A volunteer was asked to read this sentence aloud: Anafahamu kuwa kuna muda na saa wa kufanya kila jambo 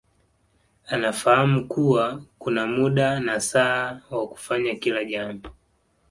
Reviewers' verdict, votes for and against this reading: accepted, 2, 0